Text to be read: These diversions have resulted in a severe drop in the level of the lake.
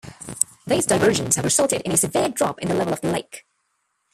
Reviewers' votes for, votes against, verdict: 0, 2, rejected